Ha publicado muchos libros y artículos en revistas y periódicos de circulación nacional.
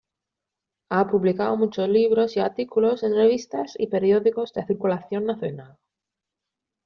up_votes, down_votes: 0, 2